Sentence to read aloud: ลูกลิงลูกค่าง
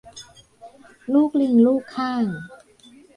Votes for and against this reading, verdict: 2, 0, accepted